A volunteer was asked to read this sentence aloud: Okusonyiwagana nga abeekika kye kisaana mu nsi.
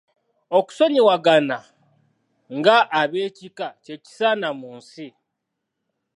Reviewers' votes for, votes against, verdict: 2, 0, accepted